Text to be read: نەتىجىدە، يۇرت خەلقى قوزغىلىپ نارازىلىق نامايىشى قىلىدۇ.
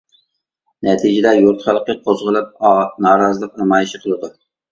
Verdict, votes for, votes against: rejected, 0, 2